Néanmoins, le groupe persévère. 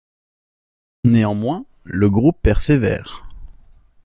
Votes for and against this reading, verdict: 2, 0, accepted